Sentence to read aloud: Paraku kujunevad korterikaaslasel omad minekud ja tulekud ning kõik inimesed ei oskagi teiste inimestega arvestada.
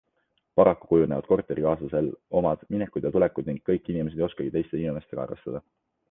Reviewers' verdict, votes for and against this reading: accepted, 2, 0